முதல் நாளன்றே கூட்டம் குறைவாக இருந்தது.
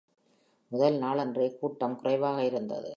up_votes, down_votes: 2, 0